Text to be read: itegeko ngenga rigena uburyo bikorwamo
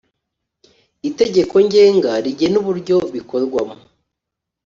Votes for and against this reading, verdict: 2, 0, accepted